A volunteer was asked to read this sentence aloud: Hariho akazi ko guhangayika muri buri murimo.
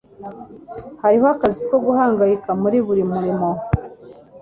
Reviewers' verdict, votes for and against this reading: accepted, 3, 0